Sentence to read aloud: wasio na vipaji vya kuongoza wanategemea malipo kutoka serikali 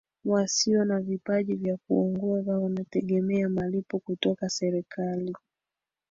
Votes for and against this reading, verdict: 1, 2, rejected